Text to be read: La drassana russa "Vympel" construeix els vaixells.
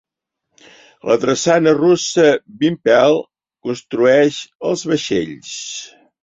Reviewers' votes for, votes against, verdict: 2, 0, accepted